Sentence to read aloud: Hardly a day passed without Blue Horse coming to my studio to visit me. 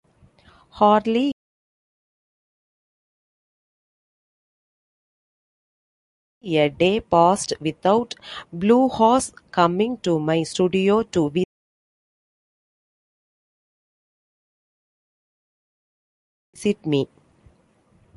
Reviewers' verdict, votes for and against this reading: rejected, 0, 2